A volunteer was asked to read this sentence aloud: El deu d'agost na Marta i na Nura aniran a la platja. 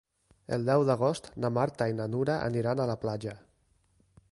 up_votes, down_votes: 2, 0